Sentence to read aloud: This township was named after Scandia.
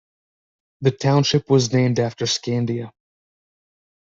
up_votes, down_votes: 0, 2